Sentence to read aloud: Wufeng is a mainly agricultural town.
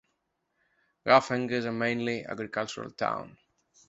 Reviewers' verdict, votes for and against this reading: rejected, 1, 2